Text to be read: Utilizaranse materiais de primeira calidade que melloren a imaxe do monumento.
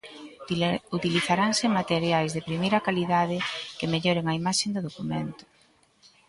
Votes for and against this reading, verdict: 0, 2, rejected